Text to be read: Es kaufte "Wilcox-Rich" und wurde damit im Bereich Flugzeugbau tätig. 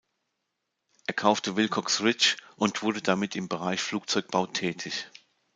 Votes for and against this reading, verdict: 0, 2, rejected